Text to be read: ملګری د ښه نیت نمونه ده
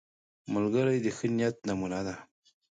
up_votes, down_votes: 2, 0